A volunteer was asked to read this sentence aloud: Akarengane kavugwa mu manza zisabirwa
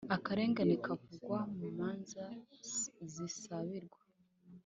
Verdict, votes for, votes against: accepted, 3, 0